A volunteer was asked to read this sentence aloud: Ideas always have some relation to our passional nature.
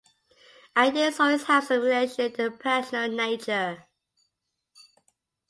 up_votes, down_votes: 1, 2